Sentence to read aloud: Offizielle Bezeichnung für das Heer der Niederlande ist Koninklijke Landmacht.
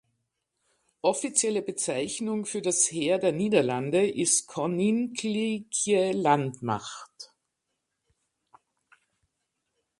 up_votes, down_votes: 0, 2